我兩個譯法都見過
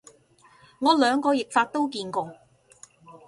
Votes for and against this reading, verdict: 2, 0, accepted